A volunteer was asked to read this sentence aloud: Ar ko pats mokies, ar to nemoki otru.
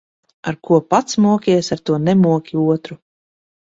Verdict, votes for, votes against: accepted, 2, 0